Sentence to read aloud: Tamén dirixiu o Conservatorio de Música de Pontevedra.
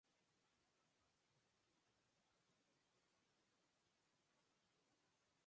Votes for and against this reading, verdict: 0, 2, rejected